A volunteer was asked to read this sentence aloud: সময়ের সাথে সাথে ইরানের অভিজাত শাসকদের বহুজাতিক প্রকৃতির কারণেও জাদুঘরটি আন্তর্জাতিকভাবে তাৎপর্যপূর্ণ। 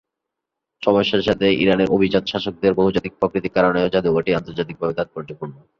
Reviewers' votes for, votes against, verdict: 3, 0, accepted